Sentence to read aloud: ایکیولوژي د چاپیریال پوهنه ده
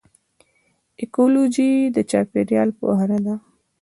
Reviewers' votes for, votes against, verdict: 2, 0, accepted